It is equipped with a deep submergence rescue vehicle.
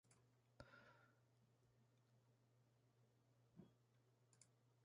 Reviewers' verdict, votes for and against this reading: rejected, 0, 2